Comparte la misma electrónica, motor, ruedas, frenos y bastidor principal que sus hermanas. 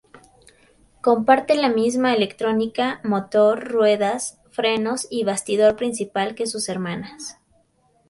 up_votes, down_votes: 2, 0